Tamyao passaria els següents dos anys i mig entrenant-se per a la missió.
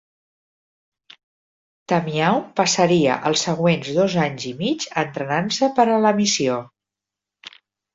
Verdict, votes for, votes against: accepted, 6, 0